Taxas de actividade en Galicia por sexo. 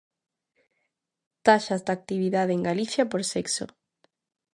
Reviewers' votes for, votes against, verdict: 2, 0, accepted